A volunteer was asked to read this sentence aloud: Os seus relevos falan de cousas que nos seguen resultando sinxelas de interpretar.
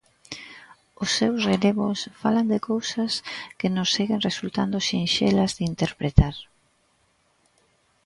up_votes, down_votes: 2, 0